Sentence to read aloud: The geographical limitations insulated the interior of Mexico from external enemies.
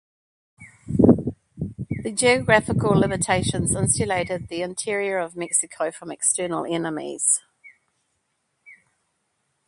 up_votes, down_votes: 2, 0